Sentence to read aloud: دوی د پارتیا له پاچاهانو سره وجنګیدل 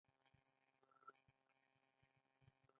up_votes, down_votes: 1, 2